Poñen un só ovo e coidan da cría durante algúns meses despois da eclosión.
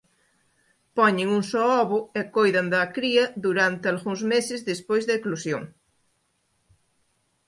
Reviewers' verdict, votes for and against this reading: accepted, 2, 0